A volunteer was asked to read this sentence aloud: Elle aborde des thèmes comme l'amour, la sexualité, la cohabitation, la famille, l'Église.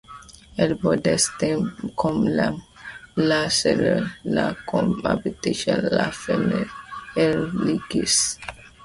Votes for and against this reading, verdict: 1, 2, rejected